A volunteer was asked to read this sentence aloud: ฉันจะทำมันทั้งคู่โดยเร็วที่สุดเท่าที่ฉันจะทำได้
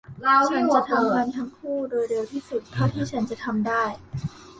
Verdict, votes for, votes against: rejected, 0, 2